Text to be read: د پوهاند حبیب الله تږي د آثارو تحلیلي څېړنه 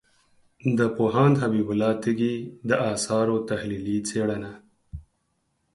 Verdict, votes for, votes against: accepted, 4, 0